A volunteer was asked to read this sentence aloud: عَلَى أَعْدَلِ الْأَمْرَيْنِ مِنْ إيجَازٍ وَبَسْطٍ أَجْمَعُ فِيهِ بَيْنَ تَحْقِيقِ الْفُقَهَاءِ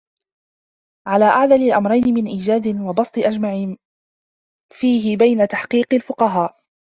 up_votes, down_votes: 1, 2